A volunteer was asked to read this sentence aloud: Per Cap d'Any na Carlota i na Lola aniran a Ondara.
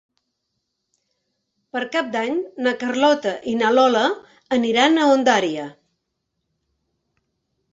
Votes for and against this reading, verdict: 1, 2, rejected